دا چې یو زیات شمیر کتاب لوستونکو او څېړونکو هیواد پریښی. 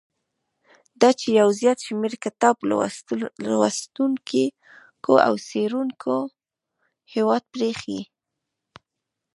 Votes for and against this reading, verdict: 1, 2, rejected